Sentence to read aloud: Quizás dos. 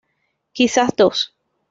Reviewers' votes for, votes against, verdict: 2, 0, accepted